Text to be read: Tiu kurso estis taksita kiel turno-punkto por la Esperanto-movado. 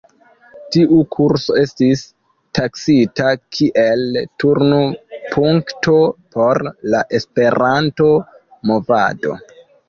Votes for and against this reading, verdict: 1, 2, rejected